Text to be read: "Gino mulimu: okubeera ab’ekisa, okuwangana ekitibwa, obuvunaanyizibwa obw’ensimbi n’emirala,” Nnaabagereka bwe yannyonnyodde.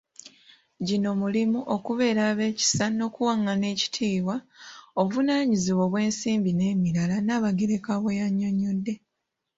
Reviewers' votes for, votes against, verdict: 1, 3, rejected